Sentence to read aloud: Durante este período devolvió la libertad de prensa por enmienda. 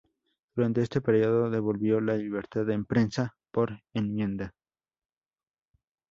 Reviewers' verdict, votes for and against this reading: rejected, 0, 2